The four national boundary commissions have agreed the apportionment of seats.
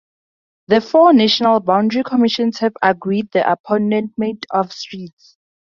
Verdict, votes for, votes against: rejected, 0, 2